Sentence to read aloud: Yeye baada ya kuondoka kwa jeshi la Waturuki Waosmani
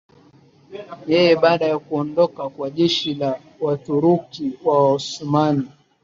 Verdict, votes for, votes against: rejected, 1, 4